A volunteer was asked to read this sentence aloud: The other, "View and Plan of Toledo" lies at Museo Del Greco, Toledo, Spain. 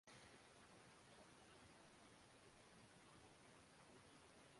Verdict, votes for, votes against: rejected, 0, 2